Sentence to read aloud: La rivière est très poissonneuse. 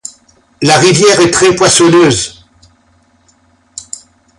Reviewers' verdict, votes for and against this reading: accepted, 2, 0